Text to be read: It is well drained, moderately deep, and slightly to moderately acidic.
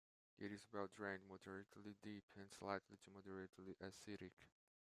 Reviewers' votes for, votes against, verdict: 2, 0, accepted